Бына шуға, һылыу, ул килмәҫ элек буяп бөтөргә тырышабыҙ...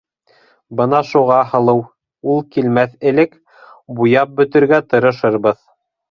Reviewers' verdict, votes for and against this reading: rejected, 0, 2